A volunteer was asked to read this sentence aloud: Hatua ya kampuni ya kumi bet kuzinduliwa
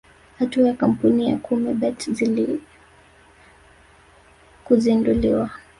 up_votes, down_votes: 0, 2